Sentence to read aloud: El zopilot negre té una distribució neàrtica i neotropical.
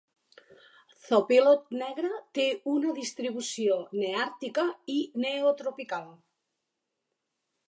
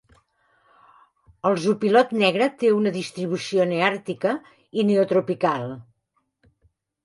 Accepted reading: second